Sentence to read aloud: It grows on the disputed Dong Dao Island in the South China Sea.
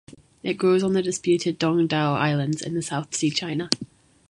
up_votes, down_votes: 1, 2